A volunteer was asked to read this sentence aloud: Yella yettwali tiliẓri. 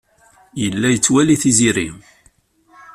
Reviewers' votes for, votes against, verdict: 1, 2, rejected